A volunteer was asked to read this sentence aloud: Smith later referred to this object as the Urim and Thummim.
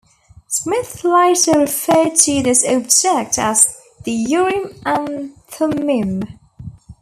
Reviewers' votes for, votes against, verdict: 1, 2, rejected